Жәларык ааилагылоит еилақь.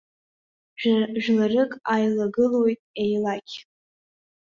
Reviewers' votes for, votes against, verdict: 1, 2, rejected